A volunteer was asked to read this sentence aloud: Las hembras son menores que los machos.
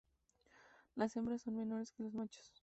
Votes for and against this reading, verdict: 2, 0, accepted